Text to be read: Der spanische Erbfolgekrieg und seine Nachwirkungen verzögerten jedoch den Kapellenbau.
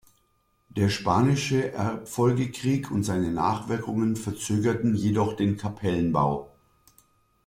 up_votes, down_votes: 2, 0